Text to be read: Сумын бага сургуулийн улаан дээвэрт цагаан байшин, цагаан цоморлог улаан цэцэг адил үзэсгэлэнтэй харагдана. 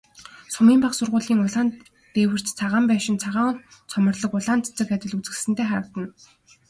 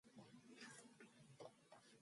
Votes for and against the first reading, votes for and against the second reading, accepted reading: 3, 0, 0, 2, first